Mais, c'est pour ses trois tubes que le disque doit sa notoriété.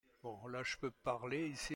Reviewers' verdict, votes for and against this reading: rejected, 1, 2